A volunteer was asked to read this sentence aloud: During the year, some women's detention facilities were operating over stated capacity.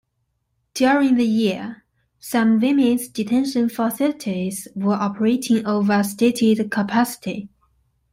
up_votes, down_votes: 2, 0